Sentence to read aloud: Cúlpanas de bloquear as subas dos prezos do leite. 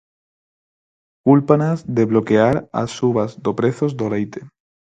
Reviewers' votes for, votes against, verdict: 0, 4, rejected